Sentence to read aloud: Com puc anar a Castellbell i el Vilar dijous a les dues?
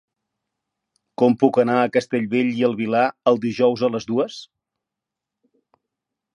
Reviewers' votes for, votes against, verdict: 0, 3, rejected